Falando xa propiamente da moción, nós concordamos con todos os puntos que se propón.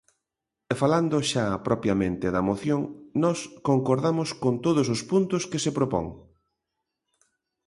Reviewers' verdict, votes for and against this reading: rejected, 1, 2